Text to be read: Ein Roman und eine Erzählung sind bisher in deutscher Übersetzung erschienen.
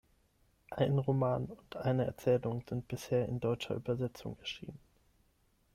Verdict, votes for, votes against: rejected, 3, 6